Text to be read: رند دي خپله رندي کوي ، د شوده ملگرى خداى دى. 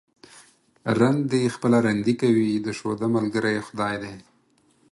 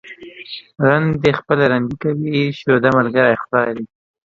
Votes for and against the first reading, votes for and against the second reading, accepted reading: 4, 0, 1, 2, first